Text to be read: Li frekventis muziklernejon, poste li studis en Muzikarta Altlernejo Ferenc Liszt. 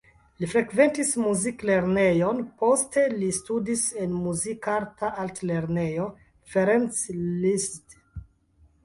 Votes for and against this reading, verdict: 1, 2, rejected